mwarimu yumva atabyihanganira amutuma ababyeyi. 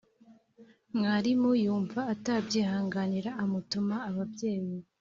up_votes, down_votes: 2, 0